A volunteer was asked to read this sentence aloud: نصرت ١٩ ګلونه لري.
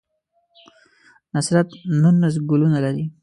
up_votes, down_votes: 0, 2